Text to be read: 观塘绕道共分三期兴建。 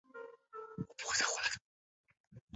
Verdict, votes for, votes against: rejected, 0, 2